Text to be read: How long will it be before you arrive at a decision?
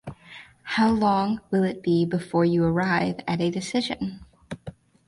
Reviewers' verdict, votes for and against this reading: accepted, 4, 0